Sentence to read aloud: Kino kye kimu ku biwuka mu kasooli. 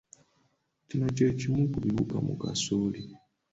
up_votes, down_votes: 2, 0